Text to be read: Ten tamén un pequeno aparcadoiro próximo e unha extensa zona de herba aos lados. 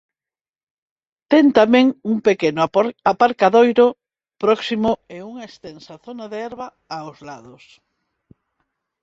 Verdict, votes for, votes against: rejected, 0, 6